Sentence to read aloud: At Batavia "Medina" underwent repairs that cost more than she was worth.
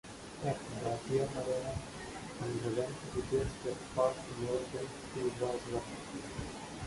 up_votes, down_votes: 0, 2